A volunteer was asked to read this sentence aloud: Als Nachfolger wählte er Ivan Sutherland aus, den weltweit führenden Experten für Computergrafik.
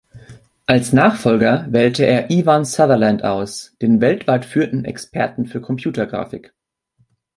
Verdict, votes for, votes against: rejected, 0, 2